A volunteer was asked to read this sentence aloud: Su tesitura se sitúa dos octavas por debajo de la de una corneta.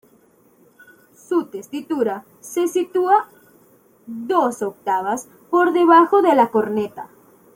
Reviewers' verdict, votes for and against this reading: rejected, 1, 2